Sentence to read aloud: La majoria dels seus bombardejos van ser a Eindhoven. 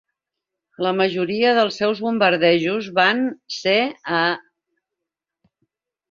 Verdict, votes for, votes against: rejected, 0, 2